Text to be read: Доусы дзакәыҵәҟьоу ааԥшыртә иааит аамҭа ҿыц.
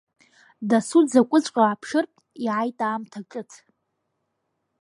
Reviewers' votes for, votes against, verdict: 2, 0, accepted